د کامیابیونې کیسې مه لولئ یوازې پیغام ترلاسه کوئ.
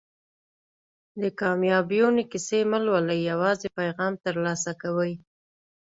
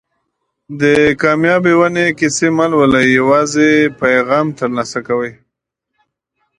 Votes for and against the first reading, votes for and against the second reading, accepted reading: 2, 0, 0, 2, first